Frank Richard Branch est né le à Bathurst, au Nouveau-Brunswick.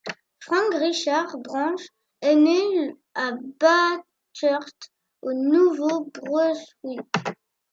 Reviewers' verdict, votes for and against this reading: rejected, 1, 2